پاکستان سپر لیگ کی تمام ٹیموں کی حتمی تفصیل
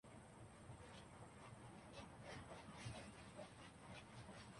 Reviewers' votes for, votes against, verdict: 0, 3, rejected